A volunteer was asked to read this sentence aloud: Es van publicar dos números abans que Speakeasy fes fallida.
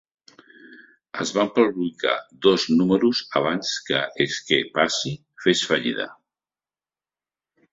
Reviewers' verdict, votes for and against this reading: rejected, 1, 2